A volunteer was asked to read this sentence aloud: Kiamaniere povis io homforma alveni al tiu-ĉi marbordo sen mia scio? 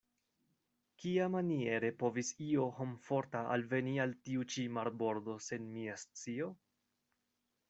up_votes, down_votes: 2, 0